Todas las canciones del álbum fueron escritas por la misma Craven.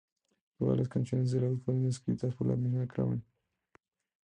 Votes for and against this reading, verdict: 0, 2, rejected